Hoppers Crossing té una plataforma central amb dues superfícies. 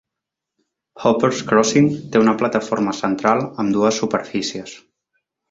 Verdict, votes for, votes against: accepted, 2, 0